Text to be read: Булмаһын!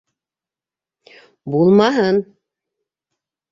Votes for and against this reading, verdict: 2, 0, accepted